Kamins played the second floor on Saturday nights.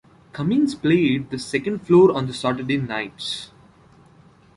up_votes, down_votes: 2, 1